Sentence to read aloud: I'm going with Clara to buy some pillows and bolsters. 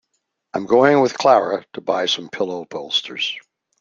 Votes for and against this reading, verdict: 1, 2, rejected